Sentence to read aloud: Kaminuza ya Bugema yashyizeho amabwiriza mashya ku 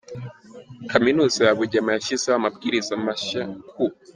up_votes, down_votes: 0, 2